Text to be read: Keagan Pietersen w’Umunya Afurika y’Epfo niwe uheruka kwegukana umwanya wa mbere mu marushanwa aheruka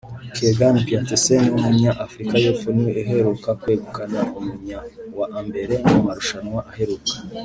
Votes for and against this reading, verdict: 1, 2, rejected